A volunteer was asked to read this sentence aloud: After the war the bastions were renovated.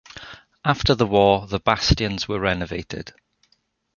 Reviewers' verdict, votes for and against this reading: accepted, 2, 0